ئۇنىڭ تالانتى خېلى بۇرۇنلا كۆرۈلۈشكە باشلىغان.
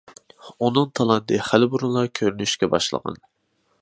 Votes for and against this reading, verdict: 2, 1, accepted